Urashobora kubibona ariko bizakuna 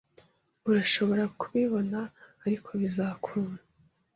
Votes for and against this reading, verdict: 2, 0, accepted